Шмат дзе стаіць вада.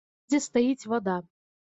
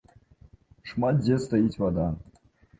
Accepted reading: second